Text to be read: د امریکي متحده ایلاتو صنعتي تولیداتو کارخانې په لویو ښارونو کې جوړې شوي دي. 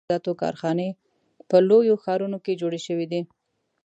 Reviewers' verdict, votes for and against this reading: rejected, 0, 2